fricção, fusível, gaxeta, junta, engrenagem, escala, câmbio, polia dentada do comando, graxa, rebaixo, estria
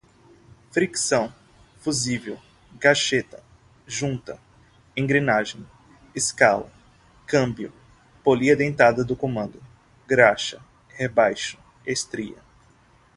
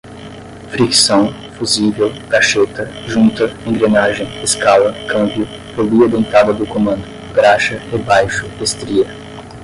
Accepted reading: first